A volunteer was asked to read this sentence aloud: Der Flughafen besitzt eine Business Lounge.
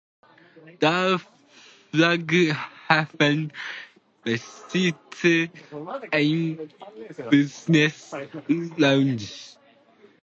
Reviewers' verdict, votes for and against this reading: rejected, 0, 2